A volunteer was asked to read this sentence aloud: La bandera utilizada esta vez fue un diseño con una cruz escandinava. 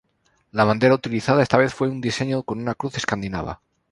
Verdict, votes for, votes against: accepted, 2, 0